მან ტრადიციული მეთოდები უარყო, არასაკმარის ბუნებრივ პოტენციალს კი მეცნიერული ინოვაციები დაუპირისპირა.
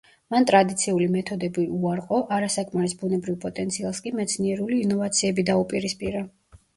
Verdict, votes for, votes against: accepted, 2, 0